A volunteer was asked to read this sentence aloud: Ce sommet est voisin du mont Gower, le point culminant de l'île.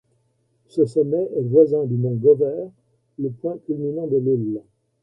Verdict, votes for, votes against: accepted, 2, 0